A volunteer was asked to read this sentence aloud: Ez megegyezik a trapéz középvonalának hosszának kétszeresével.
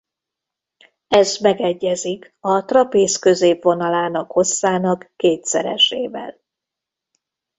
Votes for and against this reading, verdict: 2, 0, accepted